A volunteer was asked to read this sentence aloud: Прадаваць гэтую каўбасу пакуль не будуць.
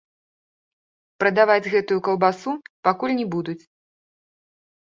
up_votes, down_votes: 2, 0